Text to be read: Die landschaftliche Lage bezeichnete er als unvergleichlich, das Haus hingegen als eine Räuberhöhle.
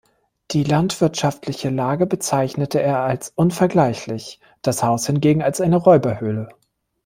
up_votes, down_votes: 0, 2